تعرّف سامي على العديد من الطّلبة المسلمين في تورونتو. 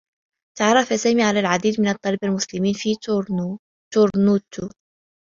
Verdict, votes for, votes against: rejected, 0, 2